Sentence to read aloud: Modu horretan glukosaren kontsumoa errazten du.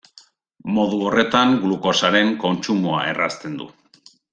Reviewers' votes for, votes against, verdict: 1, 2, rejected